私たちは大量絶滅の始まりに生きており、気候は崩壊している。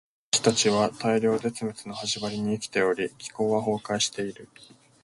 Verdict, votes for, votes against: accepted, 2, 0